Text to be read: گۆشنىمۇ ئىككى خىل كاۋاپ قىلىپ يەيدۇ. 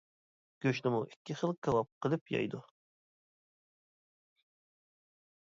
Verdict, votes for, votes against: accepted, 2, 0